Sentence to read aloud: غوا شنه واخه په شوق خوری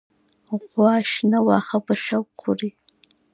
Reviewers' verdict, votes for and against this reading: accepted, 2, 0